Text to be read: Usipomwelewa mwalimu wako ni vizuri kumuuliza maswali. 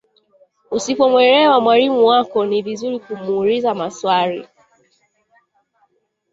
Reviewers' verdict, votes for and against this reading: accepted, 2, 0